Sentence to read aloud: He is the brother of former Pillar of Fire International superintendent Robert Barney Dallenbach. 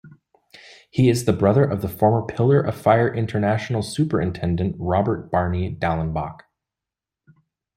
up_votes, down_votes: 0, 2